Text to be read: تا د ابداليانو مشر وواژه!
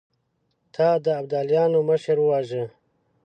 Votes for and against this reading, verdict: 2, 0, accepted